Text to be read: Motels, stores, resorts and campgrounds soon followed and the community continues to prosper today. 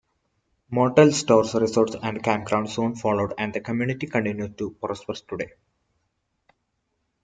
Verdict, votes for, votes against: accepted, 2, 1